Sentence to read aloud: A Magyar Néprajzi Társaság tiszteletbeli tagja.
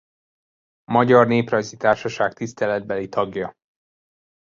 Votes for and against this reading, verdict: 1, 2, rejected